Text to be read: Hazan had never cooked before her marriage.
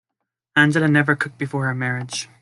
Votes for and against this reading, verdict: 1, 2, rejected